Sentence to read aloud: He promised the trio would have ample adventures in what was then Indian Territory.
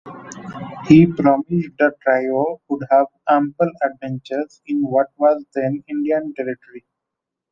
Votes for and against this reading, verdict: 2, 0, accepted